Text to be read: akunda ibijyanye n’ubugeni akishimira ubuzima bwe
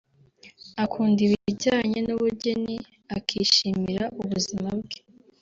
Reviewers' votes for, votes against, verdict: 2, 0, accepted